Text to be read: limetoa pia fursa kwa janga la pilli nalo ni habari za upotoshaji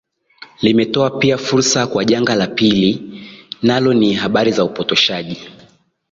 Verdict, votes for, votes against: accepted, 7, 0